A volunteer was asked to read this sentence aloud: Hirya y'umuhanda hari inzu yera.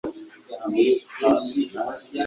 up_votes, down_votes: 1, 2